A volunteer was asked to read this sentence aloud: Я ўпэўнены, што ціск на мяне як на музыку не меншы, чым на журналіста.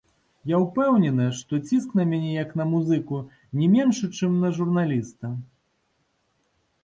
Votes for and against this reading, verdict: 2, 0, accepted